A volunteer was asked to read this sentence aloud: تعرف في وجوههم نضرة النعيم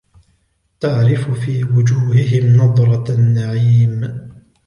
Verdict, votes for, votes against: accepted, 2, 0